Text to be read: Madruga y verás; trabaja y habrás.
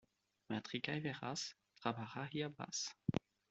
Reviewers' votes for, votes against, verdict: 1, 2, rejected